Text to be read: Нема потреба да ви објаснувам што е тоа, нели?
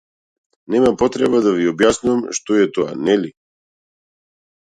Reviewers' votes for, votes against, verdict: 2, 0, accepted